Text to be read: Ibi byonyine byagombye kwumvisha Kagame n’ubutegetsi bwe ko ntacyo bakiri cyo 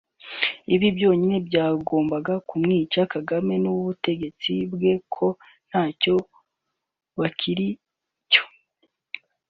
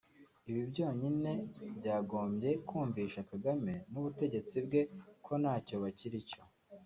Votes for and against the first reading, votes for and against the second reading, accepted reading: 0, 2, 2, 0, second